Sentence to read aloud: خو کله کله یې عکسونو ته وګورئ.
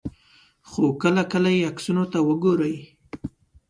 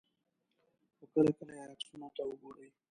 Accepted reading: first